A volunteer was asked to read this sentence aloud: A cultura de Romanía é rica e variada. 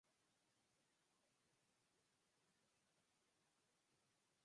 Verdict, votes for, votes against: rejected, 0, 4